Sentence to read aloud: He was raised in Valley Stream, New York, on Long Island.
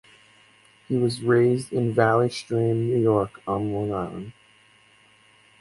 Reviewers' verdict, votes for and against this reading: rejected, 2, 2